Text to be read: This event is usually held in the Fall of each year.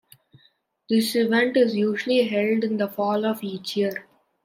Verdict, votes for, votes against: accepted, 2, 0